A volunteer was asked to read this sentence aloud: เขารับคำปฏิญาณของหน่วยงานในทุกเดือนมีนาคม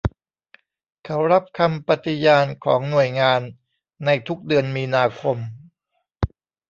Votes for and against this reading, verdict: 1, 2, rejected